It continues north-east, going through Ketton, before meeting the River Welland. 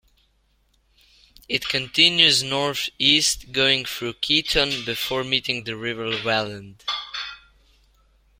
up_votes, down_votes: 2, 0